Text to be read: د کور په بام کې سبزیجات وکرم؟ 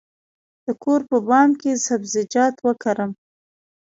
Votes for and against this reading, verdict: 2, 1, accepted